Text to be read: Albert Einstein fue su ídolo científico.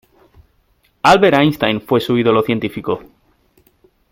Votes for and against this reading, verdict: 2, 0, accepted